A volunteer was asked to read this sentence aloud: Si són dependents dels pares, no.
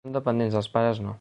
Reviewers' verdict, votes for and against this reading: rejected, 0, 3